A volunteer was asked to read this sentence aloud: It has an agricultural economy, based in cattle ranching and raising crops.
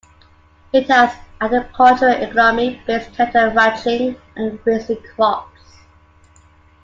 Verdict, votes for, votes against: accepted, 2, 1